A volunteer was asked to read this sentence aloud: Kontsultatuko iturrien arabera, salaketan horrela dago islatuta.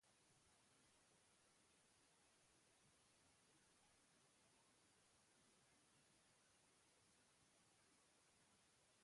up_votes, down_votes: 0, 4